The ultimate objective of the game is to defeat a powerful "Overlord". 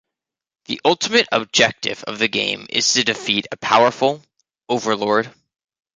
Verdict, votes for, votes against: accepted, 2, 0